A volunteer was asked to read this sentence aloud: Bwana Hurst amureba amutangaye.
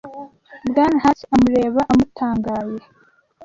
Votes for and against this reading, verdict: 1, 2, rejected